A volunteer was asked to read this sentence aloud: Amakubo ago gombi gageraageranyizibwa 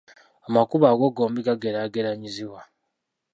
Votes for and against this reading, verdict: 1, 2, rejected